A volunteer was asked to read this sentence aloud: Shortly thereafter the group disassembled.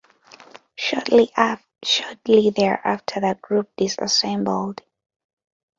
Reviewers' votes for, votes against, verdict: 0, 2, rejected